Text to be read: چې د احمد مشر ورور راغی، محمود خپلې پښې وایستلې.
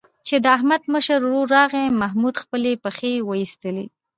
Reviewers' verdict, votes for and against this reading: accepted, 2, 0